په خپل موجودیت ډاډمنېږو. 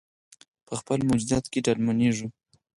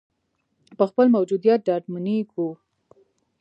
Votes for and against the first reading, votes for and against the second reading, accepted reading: 2, 4, 2, 0, second